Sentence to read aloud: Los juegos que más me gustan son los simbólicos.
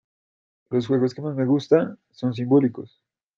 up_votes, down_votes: 0, 2